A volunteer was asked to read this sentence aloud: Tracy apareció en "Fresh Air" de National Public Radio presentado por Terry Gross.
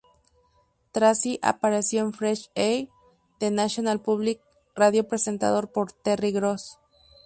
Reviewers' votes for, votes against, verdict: 0, 2, rejected